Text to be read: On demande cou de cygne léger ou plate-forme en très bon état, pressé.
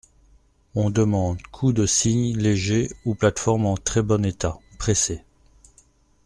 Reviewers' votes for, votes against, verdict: 2, 0, accepted